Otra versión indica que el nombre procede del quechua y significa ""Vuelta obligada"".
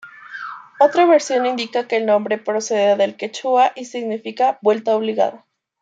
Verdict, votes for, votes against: accepted, 2, 0